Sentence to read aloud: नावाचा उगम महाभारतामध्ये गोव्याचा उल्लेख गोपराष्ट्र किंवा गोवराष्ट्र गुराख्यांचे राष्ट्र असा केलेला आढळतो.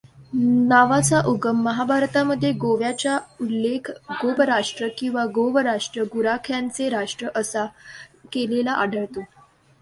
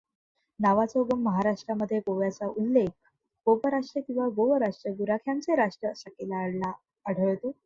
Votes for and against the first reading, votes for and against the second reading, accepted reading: 2, 0, 0, 2, first